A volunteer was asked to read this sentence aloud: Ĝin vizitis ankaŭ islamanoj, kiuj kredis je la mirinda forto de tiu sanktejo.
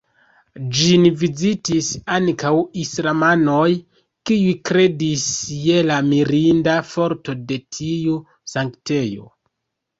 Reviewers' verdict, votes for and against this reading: rejected, 0, 2